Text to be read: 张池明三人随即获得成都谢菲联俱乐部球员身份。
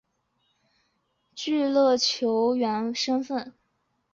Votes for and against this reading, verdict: 1, 2, rejected